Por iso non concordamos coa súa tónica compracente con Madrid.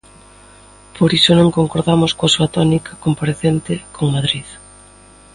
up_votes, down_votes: 2, 0